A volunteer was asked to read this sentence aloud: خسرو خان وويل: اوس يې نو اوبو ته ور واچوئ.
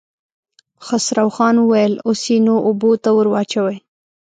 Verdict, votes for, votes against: accepted, 2, 0